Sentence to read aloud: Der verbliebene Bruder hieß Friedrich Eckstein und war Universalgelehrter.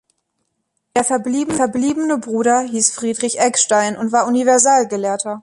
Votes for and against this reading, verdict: 0, 2, rejected